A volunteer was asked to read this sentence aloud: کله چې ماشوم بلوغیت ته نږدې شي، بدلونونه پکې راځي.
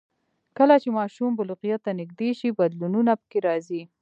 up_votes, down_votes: 2, 0